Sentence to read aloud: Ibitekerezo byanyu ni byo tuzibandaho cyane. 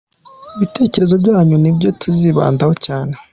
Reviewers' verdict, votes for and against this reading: accepted, 2, 0